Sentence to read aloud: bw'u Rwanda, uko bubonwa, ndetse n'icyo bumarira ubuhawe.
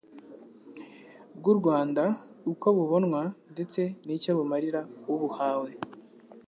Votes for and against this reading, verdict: 2, 0, accepted